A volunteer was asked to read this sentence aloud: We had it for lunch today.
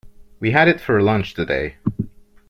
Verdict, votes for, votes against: accepted, 2, 0